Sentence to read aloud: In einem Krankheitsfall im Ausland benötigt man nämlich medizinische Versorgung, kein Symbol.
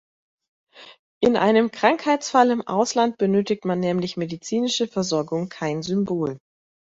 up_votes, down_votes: 2, 0